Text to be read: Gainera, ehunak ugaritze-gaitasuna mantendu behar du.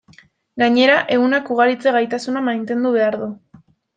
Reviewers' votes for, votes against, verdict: 1, 2, rejected